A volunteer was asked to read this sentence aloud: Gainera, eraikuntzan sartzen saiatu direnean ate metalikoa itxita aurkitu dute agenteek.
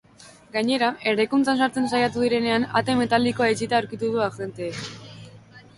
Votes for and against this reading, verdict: 1, 2, rejected